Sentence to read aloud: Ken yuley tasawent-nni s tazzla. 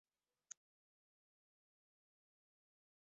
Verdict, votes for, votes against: rejected, 0, 2